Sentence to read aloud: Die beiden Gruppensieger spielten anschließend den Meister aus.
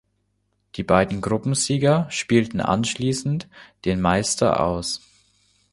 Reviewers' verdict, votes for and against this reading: accepted, 2, 0